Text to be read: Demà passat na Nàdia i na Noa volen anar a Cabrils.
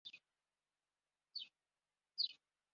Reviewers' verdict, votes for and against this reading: rejected, 0, 2